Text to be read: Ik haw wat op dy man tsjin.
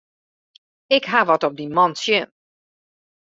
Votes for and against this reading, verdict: 2, 0, accepted